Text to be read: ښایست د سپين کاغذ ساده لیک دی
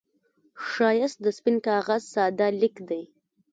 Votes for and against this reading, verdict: 1, 2, rejected